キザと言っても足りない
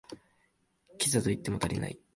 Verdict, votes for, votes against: accepted, 2, 1